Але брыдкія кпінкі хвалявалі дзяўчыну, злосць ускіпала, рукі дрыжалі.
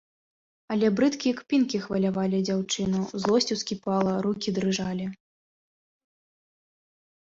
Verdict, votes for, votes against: accepted, 2, 0